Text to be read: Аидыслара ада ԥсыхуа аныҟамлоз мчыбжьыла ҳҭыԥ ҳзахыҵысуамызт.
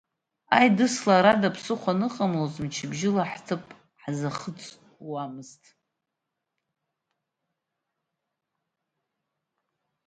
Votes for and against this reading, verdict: 0, 2, rejected